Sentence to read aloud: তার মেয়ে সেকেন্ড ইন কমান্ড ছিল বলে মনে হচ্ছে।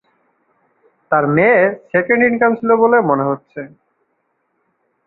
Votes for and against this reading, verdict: 0, 2, rejected